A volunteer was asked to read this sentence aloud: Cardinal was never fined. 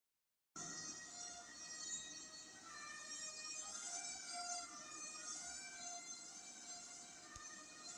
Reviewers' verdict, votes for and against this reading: rejected, 0, 2